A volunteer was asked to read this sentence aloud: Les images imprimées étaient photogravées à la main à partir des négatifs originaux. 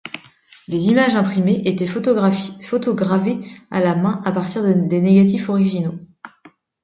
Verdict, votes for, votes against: rejected, 1, 2